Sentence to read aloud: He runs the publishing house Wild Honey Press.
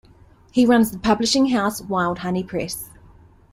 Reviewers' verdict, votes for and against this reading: accepted, 2, 0